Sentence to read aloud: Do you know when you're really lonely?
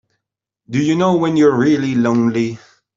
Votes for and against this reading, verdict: 3, 0, accepted